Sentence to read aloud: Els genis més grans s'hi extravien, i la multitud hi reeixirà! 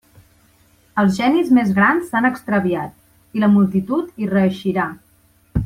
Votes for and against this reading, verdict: 0, 2, rejected